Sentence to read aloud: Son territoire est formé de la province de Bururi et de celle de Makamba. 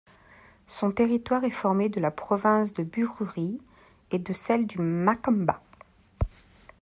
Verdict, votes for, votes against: rejected, 0, 2